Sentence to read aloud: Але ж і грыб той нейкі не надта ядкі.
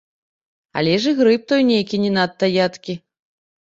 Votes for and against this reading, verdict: 1, 2, rejected